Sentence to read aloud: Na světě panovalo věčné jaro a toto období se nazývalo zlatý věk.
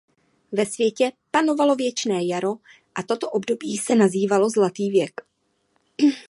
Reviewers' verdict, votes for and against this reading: rejected, 0, 2